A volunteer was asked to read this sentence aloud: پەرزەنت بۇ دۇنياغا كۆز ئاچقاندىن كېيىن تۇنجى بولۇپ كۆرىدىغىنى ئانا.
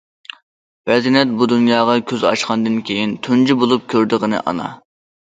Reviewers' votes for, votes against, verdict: 2, 1, accepted